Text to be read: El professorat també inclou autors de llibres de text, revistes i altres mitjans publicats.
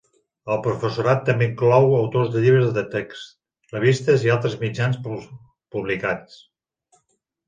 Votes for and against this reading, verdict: 0, 2, rejected